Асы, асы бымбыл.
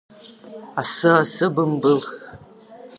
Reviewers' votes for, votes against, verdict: 2, 0, accepted